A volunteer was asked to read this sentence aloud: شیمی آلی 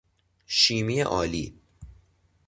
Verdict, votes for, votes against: accepted, 2, 0